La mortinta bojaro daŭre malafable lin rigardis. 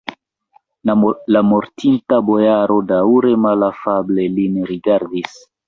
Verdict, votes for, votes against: rejected, 0, 2